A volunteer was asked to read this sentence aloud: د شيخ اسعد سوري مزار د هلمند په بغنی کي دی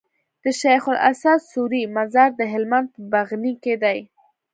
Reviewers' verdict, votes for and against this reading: accepted, 2, 0